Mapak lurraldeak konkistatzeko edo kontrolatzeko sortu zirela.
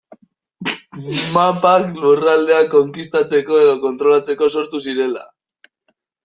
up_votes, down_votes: 0, 2